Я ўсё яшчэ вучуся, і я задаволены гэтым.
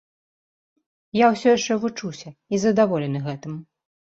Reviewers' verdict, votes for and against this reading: rejected, 0, 2